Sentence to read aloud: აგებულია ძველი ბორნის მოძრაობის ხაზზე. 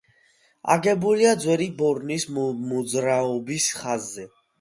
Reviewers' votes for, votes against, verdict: 2, 1, accepted